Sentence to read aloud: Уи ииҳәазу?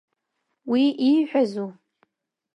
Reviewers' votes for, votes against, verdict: 2, 0, accepted